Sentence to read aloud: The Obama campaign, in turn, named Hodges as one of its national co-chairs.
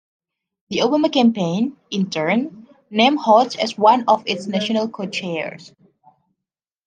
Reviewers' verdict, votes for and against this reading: rejected, 0, 2